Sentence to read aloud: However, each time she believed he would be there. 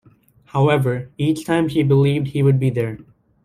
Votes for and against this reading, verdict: 2, 0, accepted